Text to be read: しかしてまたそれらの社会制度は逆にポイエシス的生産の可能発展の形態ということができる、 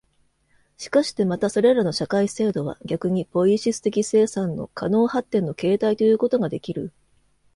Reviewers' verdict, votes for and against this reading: accepted, 2, 0